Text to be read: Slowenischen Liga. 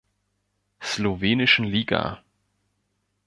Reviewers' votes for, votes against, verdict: 2, 1, accepted